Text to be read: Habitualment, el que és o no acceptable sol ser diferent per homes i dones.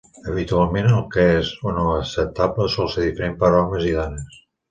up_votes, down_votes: 4, 0